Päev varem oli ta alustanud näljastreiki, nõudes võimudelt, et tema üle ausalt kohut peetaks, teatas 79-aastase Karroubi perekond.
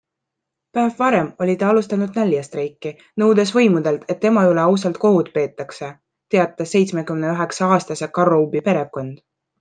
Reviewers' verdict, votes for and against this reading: rejected, 0, 2